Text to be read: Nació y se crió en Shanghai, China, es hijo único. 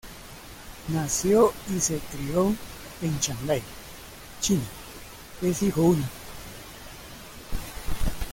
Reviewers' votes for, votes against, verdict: 0, 2, rejected